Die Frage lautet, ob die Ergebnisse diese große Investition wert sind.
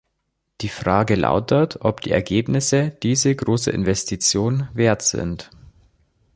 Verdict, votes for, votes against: accepted, 2, 0